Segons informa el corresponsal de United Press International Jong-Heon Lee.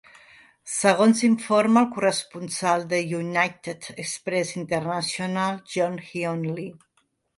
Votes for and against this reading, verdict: 1, 2, rejected